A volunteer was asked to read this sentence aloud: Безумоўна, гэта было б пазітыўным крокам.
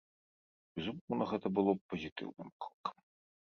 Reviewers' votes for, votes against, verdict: 1, 2, rejected